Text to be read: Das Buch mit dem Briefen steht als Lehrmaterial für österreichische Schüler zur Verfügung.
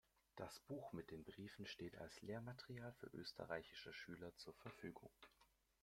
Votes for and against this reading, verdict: 1, 2, rejected